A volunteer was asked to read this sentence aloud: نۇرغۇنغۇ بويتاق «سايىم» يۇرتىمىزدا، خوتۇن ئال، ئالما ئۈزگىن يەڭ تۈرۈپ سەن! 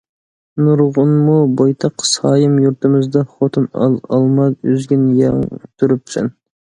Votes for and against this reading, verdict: 2, 0, accepted